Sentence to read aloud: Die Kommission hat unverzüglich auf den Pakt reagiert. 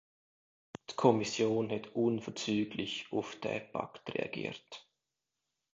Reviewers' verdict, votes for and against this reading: rejected, 1, 2